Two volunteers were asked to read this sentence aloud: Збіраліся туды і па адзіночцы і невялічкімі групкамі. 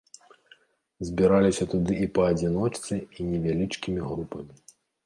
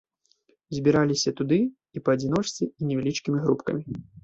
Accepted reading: second